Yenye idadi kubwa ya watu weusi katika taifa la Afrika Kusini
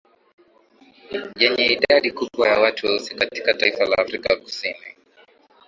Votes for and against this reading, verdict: 11, 0, accepted